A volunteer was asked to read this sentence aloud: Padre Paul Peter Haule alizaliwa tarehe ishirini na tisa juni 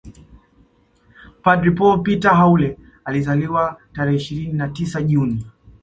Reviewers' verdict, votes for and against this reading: accepted, 2, 0